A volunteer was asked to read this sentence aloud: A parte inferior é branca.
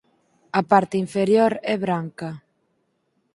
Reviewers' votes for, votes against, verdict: 0, 4, rejected